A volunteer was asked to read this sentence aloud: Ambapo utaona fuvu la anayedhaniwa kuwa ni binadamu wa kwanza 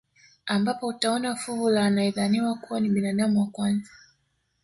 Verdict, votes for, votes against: accepted, 2, 0